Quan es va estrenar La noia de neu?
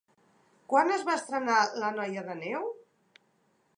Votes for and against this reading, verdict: 3, 0, accepted